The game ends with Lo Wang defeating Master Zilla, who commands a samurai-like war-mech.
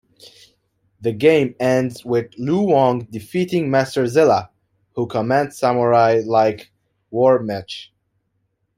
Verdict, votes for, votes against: rejected, 1, 2